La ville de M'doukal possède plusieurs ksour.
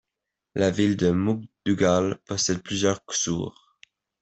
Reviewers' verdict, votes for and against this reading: rejected, 0, 2